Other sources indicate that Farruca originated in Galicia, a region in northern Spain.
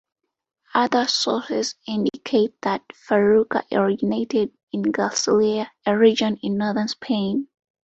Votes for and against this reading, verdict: 2, 1, accepted